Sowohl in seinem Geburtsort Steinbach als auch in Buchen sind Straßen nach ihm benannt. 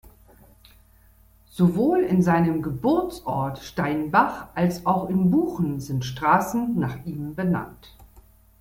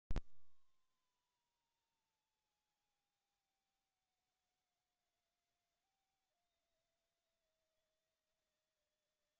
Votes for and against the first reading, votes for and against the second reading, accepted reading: 2, 0, 0, 2, first